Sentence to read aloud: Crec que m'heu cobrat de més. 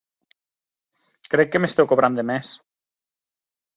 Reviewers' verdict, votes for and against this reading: rejected, 0, 2